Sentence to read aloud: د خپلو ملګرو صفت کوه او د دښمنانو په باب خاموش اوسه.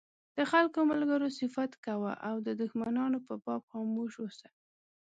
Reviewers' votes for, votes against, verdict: 1, 2, rejected